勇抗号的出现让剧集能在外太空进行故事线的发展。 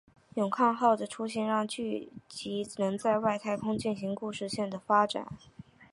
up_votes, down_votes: 4, 0